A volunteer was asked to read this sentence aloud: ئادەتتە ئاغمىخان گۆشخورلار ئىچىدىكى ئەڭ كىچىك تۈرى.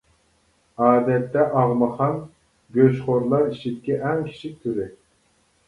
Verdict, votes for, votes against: rejected, 0, 2